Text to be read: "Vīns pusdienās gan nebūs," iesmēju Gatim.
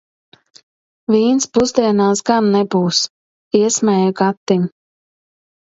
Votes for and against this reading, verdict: 2, 0, accepted